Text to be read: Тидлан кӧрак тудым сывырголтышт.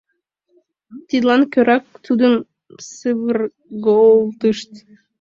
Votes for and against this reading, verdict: 0, 2, rejected